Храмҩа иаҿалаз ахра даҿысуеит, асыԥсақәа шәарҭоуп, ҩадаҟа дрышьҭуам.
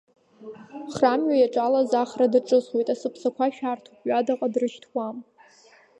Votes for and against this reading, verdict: 2, 1, accepted